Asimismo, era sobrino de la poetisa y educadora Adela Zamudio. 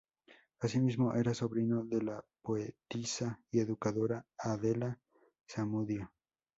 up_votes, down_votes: 2, 0